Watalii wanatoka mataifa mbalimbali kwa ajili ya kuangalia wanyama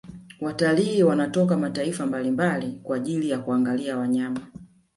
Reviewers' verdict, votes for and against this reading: rejected, 1, 2